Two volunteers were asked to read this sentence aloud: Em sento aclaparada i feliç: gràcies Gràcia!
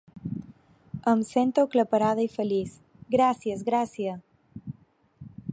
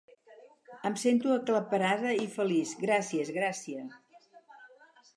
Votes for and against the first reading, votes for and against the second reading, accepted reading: 2, 0, 2, 2, first